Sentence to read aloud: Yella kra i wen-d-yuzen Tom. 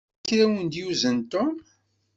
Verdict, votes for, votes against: rejected, 1, 2